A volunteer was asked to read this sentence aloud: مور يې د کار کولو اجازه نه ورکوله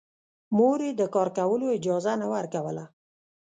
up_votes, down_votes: 1, 2